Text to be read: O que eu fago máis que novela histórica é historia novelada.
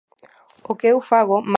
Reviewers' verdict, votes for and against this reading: rejected, 0, 2